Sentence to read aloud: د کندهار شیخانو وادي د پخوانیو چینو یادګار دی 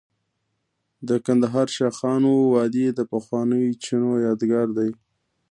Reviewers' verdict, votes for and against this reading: rejected, 1, 2